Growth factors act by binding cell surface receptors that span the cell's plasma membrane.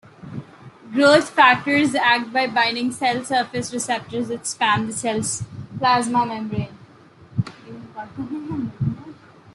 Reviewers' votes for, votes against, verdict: 2, 0, accepted